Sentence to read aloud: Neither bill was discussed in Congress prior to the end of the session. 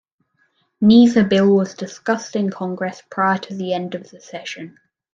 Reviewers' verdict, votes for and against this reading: accepted, 2, 0